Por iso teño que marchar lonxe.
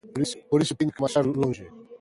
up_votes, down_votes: 0, 2